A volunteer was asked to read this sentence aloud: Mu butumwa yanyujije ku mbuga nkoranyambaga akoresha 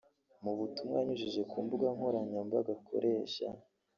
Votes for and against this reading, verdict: 1, 3, rejected